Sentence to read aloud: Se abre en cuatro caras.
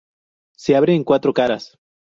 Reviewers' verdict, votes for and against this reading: accepted, 2, 0